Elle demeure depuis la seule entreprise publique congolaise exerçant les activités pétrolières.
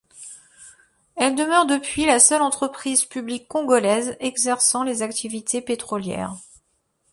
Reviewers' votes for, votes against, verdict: 2, 0, accepted